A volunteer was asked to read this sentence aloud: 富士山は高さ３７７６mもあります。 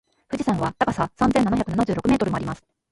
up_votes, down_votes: 0, 2